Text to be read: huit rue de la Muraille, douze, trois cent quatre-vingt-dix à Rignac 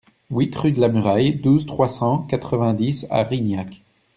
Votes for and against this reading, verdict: 2, 0, accepted